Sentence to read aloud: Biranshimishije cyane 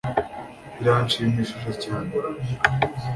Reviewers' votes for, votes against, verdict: 2, 1, accepted